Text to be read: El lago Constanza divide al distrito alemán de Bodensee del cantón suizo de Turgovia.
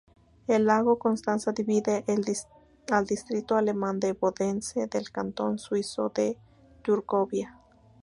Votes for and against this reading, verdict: 0, 2, rejected